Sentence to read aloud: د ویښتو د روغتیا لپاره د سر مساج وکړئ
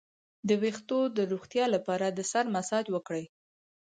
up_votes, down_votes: 2, 4